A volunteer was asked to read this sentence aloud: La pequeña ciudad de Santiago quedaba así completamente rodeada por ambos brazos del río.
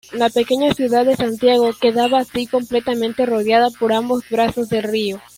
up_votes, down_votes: 1, 2